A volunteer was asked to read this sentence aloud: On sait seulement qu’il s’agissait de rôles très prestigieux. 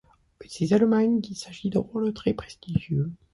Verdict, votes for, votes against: accepted, 2, 1